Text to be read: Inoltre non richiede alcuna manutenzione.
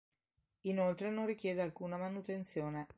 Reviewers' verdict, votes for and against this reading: accepted, 2, 0